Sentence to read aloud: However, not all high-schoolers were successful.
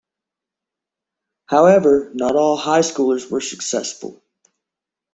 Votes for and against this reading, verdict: 0, 2, rejected